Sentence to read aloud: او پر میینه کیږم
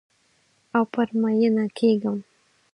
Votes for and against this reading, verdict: 4, 0, accepted